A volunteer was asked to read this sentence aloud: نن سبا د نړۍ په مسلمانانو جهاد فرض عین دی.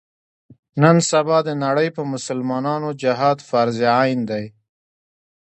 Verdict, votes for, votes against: rejected, 1, 2